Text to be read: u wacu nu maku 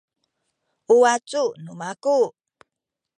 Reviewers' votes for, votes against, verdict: 2, 0, accepted